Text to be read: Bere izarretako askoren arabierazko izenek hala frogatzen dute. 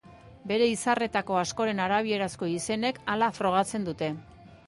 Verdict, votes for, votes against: accepted, 4, 0